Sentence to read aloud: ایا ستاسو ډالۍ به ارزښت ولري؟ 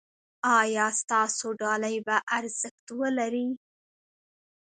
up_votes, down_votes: 2, 0